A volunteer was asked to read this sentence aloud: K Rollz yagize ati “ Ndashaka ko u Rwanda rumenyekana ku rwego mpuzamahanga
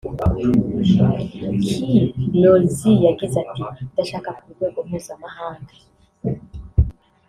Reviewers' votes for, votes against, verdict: 1, 3, rejected